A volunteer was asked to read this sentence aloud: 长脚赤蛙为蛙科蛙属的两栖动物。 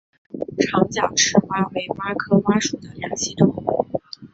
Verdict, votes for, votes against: rejected, 0, 3